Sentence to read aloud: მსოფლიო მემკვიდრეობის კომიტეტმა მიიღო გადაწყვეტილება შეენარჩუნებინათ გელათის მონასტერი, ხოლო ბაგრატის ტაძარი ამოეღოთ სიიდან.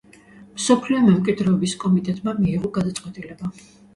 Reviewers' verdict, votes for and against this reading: rejected, 0, 2